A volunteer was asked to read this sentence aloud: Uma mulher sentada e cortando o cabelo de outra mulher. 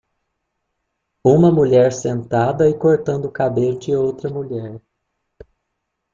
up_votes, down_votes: 0, 2